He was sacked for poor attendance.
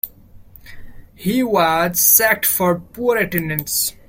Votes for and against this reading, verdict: 1, 2, rejected